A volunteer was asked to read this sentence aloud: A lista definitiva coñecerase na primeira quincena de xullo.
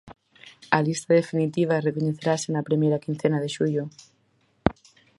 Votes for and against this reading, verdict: 0, 4, rejected